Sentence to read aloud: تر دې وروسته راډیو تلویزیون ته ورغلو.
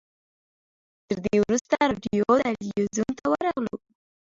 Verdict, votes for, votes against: rejected, 0, 2